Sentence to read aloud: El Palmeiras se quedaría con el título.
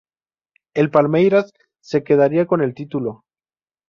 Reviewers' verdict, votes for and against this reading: accepted, 2, 0